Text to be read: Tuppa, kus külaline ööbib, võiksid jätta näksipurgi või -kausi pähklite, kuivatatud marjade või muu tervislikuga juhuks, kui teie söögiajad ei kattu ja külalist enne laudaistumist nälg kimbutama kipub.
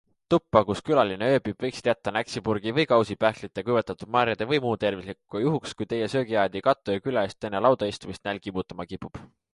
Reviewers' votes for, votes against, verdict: 2, 0, accepted